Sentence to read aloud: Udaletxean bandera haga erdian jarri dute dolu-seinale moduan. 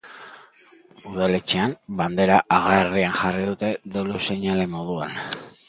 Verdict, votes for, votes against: rejected, 0, 2